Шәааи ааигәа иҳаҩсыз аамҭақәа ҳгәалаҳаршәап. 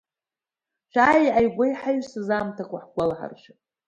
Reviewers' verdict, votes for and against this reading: accepted, 2, 1